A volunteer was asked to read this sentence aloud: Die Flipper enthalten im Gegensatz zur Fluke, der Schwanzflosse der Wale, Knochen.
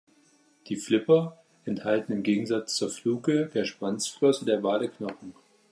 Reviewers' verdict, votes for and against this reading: accepted, 2, 0